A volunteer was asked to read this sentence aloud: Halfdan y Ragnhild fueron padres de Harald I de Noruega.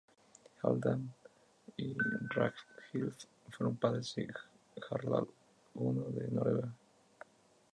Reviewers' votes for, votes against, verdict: 2, 0, accepted